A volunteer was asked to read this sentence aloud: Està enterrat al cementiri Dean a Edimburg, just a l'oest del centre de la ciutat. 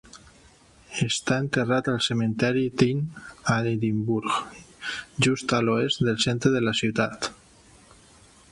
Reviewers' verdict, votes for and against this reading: rejected, 1, 2